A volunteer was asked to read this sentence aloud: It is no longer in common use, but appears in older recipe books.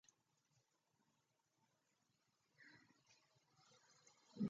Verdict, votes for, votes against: rejected, 0, 2